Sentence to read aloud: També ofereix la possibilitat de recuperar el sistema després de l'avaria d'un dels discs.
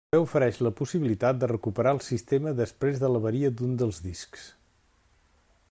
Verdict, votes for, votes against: rejected, 1, 2